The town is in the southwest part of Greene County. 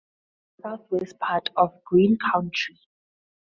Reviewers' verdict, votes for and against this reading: rejected, 0, 4